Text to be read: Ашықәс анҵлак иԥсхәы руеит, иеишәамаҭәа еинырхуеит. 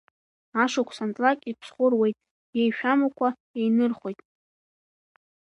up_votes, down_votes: 1, 2